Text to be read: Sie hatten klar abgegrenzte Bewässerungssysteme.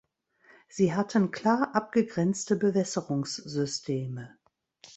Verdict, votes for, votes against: accepted, 2, 0